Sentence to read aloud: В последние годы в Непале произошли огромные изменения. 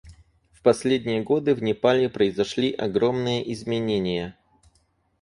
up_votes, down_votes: 4, 0